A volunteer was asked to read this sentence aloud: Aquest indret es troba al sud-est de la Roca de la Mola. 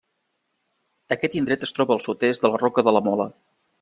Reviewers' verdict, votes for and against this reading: accepted, 3, 0